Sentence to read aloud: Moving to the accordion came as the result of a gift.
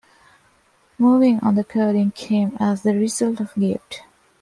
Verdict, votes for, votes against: rejected, 0, 2